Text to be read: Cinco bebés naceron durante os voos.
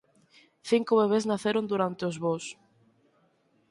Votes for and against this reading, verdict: 4, 0, accepted